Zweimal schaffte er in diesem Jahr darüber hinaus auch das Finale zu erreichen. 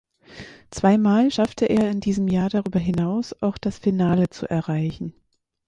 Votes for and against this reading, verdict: 4, 0, accepted